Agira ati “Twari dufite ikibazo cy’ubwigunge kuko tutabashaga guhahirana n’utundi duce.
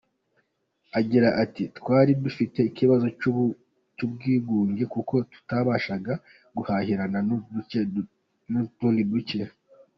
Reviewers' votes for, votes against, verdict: 0, 2, rejected